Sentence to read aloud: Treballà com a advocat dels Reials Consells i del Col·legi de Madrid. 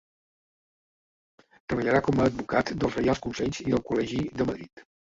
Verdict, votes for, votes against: rejected, 1, 2